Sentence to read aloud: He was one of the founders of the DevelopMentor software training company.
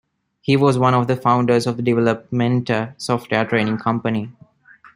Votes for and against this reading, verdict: 2, 0, accepted